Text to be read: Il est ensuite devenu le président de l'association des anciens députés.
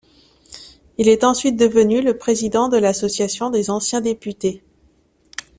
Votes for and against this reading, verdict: 2, 0, accepted